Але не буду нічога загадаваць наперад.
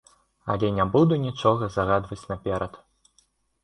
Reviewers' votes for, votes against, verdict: 2, 0, accepted